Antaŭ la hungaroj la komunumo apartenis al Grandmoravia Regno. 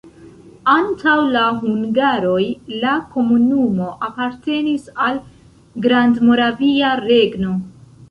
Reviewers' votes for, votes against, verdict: 1, 2, rejected